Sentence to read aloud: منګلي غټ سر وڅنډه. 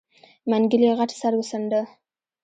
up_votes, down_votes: 1, 2